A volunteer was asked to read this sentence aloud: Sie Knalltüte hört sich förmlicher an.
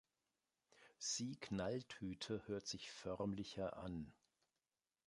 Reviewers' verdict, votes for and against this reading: accepted, 2, 0